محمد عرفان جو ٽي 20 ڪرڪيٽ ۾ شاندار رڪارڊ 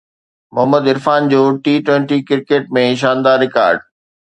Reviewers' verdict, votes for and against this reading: rejected, 0, 2